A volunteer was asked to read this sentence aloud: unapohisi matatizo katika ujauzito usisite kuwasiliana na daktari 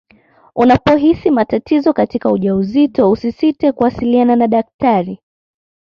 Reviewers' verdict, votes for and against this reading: accepted, 2, 0